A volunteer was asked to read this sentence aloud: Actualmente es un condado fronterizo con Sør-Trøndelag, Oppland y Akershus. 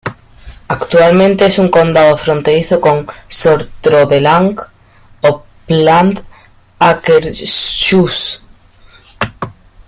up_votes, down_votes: 2, 0